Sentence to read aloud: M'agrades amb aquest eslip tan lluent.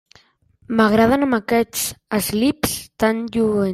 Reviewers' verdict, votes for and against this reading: rejected, 0, 2